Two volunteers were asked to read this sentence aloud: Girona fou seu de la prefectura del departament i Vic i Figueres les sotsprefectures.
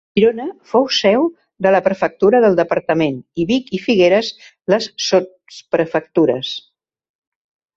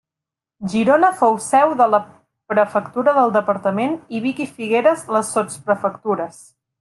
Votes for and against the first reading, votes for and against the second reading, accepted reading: 1, 2, 2, 0, second